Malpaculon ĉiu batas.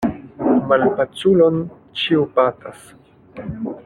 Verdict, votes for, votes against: accepted, 2, 1